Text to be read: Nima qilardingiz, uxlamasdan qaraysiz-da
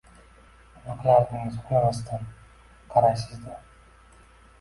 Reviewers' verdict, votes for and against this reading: accepted, 2, 0